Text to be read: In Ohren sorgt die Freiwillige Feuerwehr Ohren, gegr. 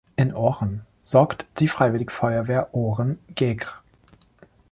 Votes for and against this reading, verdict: 1, 2, rejected